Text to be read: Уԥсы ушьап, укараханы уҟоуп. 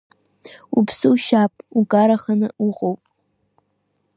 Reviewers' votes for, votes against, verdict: 2, 1, accepted